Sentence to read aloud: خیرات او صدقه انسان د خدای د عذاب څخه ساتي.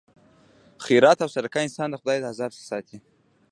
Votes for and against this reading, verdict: 2, 1, accepted